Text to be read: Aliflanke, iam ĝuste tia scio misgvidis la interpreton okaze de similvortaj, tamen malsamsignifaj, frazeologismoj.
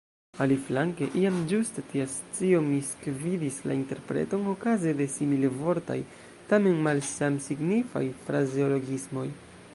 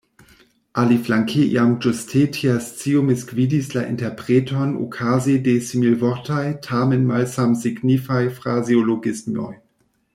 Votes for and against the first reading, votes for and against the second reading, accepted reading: 1, 2, 2, 1, second